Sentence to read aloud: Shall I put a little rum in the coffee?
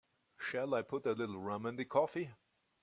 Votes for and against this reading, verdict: 3, 0, accepted